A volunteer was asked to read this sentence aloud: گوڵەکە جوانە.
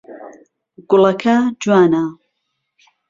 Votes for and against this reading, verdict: 2, 0, accepted